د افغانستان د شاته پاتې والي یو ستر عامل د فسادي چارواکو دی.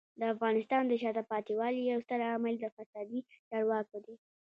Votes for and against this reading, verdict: 2, 0, accepted